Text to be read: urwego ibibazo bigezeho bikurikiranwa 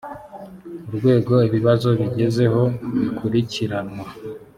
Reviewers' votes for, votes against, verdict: 2, 0, accepted